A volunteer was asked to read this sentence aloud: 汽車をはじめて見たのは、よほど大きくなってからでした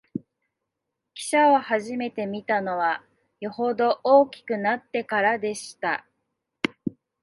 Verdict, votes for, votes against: rejected, 0, 2